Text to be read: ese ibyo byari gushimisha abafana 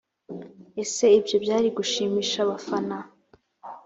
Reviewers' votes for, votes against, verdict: 2, 0, accepted